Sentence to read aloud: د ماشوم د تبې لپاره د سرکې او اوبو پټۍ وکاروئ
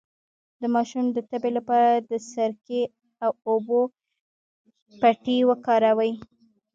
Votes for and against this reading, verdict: 1, 2, rejected